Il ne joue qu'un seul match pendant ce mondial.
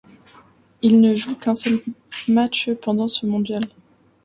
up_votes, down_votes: 2, 0